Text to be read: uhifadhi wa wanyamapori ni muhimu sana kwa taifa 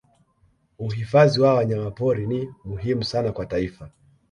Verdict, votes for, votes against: accepted, 2, 0